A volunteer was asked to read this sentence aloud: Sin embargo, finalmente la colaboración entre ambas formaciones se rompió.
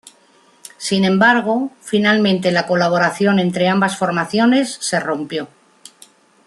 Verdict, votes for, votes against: accepted, 2, 0